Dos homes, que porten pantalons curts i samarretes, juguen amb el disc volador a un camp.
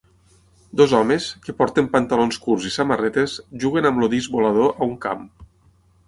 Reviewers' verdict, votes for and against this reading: rejected, 3, 6